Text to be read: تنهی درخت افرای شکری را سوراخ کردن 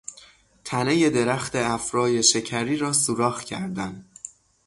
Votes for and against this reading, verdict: 3, 3, rejected